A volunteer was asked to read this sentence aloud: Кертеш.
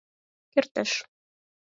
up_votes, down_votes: 4, 0